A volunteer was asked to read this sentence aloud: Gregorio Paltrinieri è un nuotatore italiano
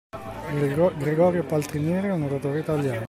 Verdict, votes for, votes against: rejected, 0, 2